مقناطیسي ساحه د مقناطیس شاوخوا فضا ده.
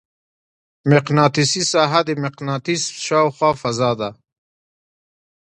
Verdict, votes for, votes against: accepted, 2, 0